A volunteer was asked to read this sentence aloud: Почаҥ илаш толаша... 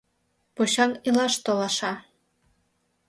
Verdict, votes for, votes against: accepted, 2, 0